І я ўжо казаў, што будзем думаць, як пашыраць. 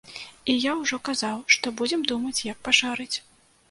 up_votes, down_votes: 0, 2